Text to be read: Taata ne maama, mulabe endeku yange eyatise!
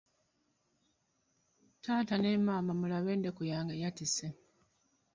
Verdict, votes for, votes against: accepted, 2, 1